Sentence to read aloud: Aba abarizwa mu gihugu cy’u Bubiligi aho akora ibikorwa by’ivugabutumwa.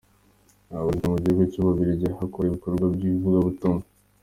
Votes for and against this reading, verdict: 2, 1, accepted